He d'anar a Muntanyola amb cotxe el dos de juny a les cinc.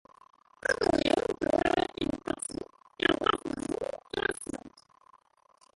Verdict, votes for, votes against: rejected, 0, 2